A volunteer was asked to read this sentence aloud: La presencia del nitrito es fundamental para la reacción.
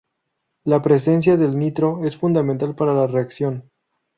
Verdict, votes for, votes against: rejected, 0, 2